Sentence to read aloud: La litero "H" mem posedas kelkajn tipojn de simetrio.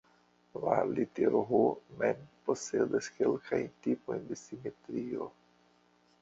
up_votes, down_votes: 1, 2